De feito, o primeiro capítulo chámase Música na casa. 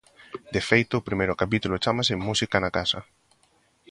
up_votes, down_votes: 3, 0